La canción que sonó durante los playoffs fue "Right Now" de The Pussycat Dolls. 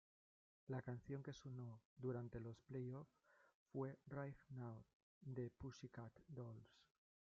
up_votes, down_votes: 0, 2